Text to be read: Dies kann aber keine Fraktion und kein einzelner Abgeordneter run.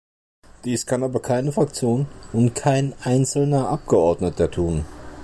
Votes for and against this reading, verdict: 1, 2, rejected